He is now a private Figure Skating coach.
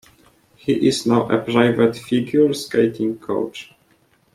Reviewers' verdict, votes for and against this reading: accepted, 2, 0